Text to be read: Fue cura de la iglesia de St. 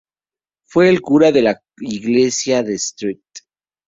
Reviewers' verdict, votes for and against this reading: rejected, 0, 2